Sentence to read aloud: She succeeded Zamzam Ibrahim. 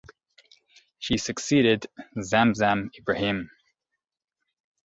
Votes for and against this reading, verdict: 2, 0, accepted